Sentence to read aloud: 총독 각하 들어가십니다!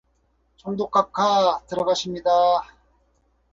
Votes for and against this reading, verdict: 2, 2, rejected